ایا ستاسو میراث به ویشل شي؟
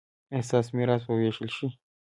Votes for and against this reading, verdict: 2, 0, accepted